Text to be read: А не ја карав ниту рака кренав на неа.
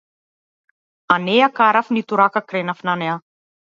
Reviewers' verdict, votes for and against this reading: accepted, 2, 0